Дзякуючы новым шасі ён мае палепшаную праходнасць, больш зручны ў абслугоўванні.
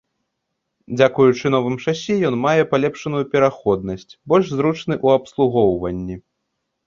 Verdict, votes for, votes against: rejected, 0, 2